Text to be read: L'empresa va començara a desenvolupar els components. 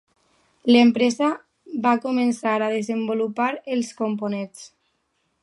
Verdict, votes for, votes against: rejected, 1, 2